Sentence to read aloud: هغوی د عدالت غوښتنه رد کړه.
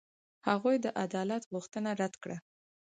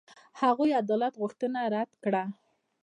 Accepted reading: first